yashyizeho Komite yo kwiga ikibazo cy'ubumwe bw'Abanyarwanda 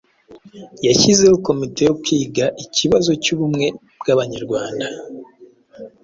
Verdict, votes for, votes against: accepted, 2, 0